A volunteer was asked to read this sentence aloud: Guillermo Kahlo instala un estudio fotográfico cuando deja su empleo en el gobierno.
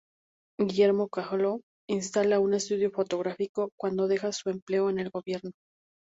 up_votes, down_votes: 2, 0